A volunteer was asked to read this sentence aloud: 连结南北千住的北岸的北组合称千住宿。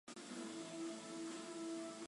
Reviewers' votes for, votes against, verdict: 1, 3, rejected